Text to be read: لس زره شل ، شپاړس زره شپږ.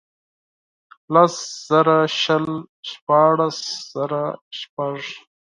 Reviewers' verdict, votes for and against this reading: accepted, 4, 2